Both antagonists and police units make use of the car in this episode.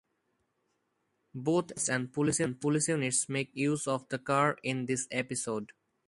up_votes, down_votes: 0, 2